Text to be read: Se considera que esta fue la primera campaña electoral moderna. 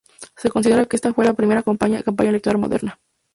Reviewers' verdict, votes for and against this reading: rejected, 2, 2